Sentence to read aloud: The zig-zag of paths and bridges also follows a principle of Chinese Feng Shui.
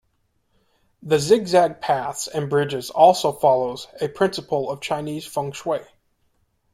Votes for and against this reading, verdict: 2, 3, rejected